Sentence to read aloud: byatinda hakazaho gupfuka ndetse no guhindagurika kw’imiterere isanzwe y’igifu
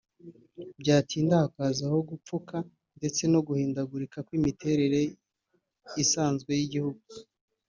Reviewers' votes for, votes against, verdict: 0, 2, rejected